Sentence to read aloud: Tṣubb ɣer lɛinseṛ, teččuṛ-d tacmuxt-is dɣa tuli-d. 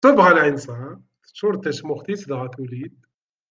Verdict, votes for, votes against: rejected, 1, 2